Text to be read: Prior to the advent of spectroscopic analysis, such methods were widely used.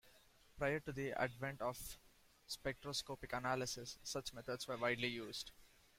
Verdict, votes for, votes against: accepted, 2, 0